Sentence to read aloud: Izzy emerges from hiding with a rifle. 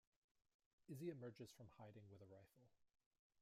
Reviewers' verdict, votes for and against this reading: rejected, 0, 2